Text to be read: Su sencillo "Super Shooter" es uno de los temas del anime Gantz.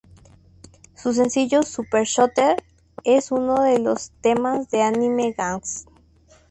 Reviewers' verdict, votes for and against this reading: rejected, 0, 2